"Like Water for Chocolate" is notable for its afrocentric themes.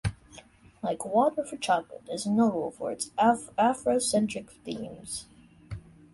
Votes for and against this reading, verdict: 0, 2, rejected